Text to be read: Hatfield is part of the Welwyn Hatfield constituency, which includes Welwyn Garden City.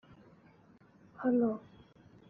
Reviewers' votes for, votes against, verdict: 0, 2, rejected